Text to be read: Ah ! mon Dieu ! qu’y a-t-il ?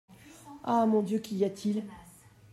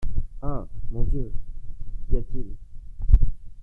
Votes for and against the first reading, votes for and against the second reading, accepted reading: 2, 1, 0, 2, first